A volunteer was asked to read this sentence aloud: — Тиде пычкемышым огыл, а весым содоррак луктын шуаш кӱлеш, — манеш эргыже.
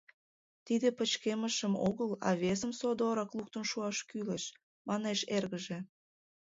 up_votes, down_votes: 2, 0